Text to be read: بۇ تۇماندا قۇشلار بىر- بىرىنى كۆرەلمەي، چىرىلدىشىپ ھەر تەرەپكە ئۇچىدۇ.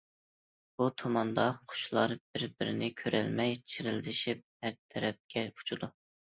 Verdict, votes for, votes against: accepted, 2, 0